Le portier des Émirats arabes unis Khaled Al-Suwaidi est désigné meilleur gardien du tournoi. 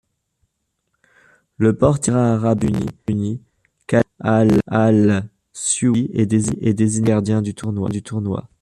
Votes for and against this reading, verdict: 0, 2, rejected